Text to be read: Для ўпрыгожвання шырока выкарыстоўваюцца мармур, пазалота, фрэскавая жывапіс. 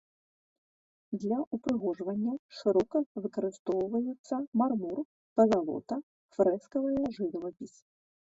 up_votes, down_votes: 1, 2